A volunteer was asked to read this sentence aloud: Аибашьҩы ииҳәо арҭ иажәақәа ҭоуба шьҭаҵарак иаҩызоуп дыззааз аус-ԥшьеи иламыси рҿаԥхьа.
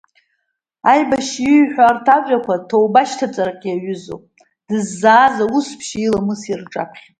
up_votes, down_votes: 2, 0